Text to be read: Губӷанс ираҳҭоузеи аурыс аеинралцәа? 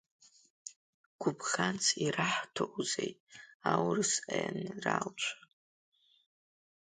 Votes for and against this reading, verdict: 2, 1, accepted